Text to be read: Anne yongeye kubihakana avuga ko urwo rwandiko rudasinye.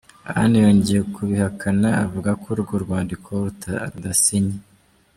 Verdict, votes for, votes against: accepted, 2, 1